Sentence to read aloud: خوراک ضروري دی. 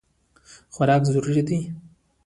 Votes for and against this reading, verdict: 0, 2, rejected